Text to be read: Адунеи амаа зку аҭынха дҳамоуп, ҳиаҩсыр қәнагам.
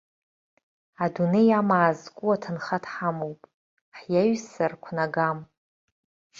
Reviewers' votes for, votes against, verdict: 2, 1, accepted